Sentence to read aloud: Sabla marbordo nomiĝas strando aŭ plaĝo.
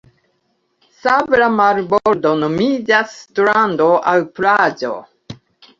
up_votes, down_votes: 1, 2